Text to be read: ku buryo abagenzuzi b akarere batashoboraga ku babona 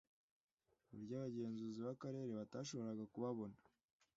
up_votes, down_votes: 2, 0